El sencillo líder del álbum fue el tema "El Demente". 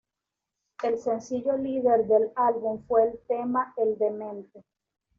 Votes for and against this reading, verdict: 2, 0, accepted